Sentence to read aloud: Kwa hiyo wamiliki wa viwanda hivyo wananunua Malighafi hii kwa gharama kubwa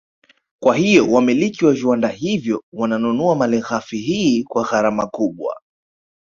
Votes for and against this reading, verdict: 2, 1, accepted